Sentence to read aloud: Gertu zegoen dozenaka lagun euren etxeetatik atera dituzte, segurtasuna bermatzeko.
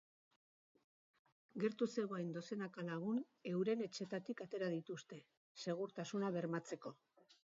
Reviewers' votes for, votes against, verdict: 2, 0, accepted